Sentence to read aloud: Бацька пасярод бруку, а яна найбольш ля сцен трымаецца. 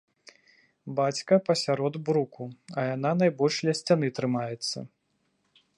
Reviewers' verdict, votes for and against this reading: rejected, 1, 2